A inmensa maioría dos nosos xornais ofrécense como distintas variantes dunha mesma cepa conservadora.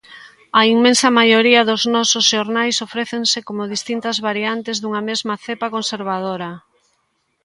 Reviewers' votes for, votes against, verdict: 2, 0, accepted